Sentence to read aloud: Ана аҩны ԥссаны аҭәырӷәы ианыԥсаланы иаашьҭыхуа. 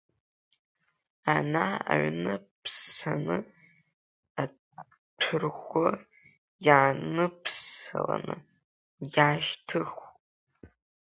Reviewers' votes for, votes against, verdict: 0, 2, rejected